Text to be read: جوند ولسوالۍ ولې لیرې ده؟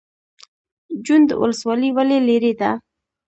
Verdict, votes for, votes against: accepted, 2, 0